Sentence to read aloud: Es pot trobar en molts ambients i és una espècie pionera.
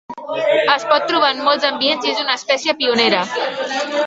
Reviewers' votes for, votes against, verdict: 3, 0, accepted